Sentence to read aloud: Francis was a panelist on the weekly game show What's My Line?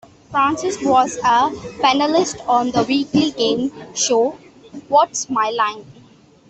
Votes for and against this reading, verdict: 2, 0, accepted